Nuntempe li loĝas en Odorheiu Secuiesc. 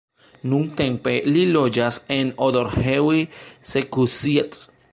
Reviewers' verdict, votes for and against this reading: rejected, 1, 2